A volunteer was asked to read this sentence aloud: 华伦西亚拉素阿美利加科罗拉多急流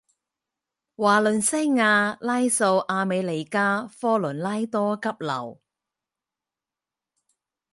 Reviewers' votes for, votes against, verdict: 2, 4, rejected